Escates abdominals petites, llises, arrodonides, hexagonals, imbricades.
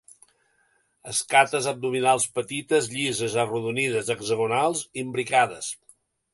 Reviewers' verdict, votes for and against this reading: accepted, 2, 0